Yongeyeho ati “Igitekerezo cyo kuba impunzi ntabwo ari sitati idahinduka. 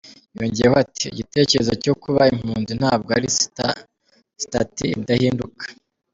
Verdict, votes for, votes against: rejected, 1, 2